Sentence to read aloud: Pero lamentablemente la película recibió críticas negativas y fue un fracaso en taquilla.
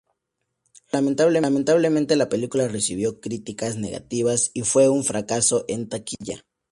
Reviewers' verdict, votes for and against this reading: rejected, 2, 2